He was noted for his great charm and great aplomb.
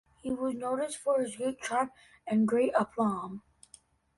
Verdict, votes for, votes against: rejected, 0, 2